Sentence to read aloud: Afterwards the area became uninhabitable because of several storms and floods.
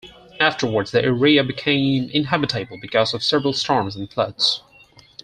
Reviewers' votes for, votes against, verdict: 0, 4, rejected